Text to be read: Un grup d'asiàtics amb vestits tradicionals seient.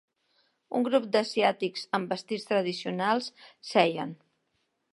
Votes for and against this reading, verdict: 0, 2, rejected